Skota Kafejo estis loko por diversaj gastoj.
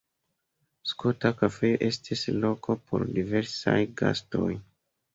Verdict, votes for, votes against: rejected, 1, 2